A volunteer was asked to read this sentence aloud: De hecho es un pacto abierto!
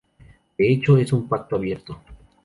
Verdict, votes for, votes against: rejected, 2, 4